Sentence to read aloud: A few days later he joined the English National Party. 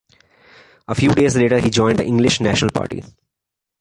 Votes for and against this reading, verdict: 2, 0, accepted